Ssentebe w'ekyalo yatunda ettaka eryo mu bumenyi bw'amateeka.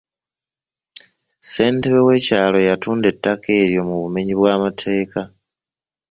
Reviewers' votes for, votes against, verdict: 0, 2, rejected